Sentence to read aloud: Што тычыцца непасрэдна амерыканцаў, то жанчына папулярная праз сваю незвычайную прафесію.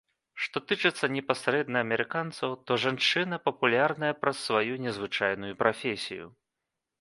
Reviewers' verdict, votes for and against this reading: accepted, 2, 0